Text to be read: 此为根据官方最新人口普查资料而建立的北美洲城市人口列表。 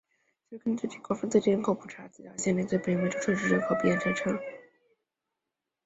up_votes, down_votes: 0, 5